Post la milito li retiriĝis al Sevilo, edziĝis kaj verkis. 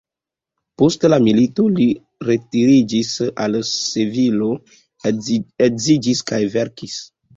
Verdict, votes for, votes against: rejected, 2, 3